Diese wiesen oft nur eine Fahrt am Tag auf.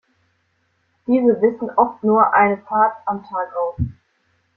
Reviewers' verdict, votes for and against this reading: rejected, 1, 2